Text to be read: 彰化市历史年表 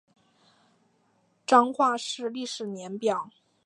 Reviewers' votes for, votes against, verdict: 2, 0, accepted